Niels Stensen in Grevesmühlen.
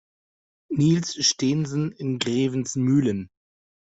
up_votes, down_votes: 0, 2